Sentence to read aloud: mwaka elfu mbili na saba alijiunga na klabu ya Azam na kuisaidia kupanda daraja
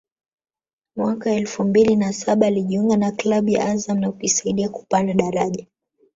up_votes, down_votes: 1, 2